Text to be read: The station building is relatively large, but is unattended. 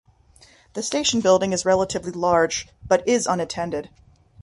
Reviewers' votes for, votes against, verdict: 3, 0, accepted